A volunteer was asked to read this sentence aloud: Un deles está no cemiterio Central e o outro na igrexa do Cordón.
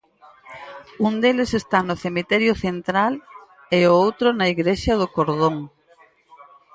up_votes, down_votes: 4, 0